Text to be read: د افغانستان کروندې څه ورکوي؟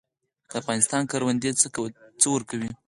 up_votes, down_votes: 6, 0